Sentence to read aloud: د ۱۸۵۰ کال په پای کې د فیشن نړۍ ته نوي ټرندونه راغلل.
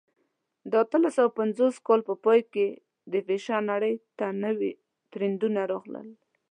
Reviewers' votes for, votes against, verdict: 0, 2, rejected